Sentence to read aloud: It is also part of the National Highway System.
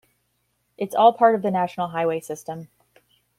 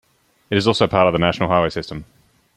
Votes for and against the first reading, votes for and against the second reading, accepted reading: 1, 2, 2, 0, second